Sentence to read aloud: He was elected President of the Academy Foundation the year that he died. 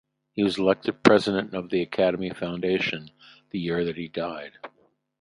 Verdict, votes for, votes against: accepted, 2, 0